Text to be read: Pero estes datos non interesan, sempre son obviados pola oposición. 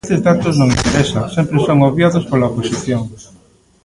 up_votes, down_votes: 1, 2